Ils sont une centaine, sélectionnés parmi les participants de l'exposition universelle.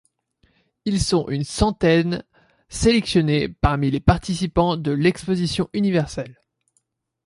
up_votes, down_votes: 2, 0